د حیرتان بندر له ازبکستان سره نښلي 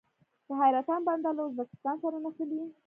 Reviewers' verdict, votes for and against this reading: accepted, 2, 0